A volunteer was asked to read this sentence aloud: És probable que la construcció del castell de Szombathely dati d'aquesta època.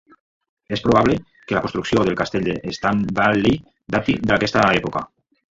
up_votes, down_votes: 0, 2